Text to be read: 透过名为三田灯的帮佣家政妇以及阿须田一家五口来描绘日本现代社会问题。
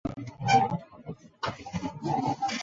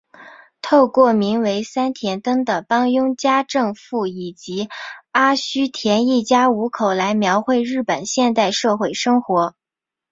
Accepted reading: second